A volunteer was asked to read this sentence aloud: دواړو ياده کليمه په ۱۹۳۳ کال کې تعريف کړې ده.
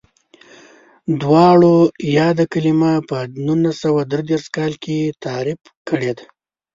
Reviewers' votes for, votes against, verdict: 0, 2, rejected